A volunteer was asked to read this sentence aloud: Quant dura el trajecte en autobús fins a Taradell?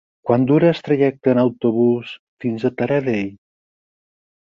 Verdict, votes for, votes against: accepted, 4, 2